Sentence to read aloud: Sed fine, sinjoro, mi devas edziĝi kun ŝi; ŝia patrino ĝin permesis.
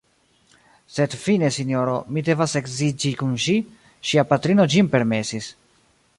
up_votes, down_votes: 1, 2